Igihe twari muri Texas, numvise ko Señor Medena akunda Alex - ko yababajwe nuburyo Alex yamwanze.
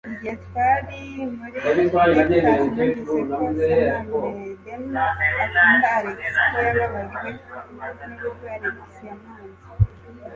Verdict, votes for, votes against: rejected, 0, 2